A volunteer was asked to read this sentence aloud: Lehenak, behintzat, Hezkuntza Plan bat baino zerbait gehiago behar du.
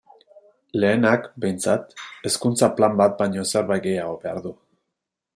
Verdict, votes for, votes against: accepted, 3, 0